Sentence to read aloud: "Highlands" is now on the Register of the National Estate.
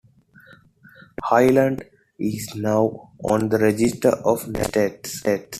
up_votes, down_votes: 2, 1